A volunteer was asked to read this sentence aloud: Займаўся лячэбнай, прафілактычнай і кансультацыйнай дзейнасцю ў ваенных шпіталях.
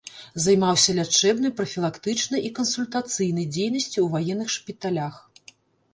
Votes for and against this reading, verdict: 1, 2, rejected